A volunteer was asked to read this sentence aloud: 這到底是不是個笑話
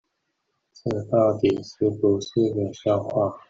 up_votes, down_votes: 1, 2